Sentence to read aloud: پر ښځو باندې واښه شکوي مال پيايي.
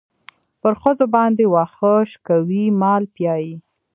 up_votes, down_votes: 1, 2